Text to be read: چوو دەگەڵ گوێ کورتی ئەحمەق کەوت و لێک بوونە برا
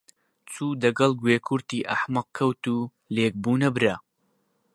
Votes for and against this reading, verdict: 2, 0, accepted